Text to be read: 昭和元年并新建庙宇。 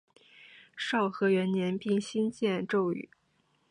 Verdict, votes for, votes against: rejected, 2, 3